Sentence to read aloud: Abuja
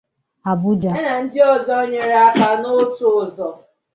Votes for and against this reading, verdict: 0, 2, rejected